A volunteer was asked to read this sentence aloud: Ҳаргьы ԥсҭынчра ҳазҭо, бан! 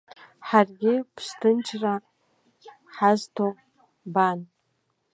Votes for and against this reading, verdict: 1, 2, rejected